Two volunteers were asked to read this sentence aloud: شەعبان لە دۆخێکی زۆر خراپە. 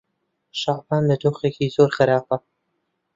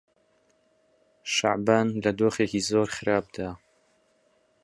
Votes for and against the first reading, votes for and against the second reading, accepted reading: 2, 0, 3, 4, first